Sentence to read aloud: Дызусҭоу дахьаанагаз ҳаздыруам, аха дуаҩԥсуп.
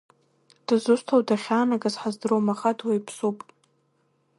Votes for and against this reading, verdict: 0, 2, rejected